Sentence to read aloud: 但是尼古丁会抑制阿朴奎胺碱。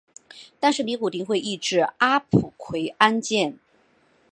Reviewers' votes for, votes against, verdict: 4, 1, accepted